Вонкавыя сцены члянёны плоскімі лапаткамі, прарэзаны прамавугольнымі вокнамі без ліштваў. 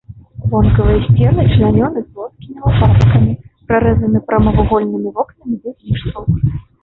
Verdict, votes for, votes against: rejected, 1, 2